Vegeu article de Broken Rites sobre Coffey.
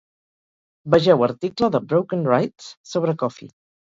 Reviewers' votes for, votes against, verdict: 0, 2, rejected